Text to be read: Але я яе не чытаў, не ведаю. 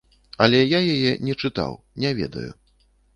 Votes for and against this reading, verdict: 2, 0, accepted